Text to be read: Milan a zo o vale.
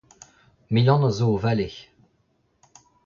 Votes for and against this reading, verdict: 2, 1, accepted